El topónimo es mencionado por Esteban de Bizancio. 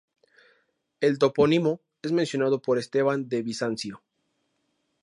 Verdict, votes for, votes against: accepted, 2, 0